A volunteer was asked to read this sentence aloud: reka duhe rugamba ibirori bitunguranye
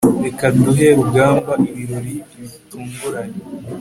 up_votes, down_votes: 2, 0